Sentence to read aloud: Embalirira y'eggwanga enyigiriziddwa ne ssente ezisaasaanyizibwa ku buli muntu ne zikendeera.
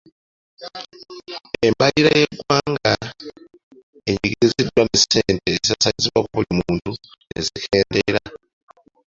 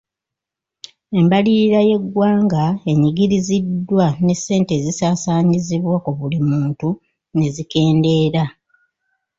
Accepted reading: first